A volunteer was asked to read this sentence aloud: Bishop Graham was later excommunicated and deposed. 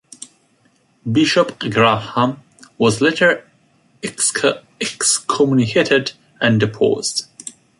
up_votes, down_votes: 0, 2